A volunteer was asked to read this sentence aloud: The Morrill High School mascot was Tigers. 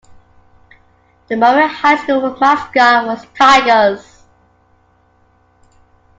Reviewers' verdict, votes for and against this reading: rejected, 0, 3